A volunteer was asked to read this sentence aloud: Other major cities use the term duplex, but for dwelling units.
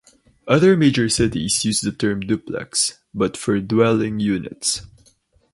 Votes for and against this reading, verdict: 2, 4, rejected